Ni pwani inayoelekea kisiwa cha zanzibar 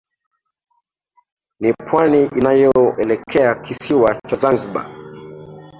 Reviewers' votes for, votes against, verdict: 3, 0, accepted